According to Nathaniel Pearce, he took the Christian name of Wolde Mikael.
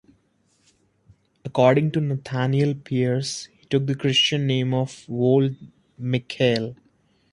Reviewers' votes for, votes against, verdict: 1, 2, rejected